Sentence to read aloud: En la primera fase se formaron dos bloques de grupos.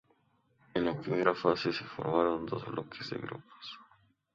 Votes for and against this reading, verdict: 0, 2, rejected